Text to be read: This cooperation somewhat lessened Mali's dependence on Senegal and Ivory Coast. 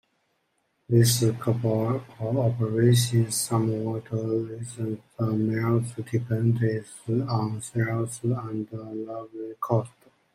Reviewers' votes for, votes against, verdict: 0, 2, rejected